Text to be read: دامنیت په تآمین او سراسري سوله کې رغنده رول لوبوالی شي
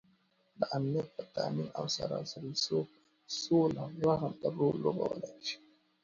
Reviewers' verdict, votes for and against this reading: accepted, 2, 0